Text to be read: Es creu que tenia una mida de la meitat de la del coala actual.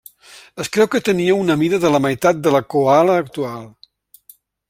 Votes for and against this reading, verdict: 0, 2, rejected